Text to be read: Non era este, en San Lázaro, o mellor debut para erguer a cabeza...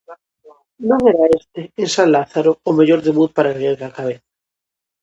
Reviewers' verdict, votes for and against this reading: rejected, 0, 2